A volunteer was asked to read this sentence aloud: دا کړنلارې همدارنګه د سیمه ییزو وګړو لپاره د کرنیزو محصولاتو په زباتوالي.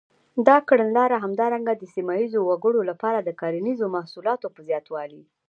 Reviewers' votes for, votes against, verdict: 1, 2, rejected